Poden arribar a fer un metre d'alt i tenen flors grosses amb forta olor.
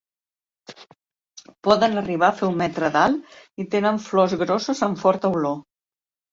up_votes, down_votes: 2, 0